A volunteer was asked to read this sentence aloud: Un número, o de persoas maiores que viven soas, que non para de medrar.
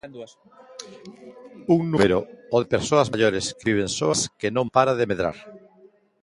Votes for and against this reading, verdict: 0, 2, rejected